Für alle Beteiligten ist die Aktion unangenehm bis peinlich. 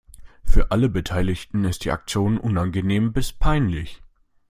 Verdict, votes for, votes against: accepted, 2, 0